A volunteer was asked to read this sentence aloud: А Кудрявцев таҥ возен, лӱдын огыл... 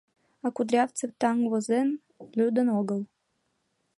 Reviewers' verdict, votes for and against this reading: accepted, 2, 0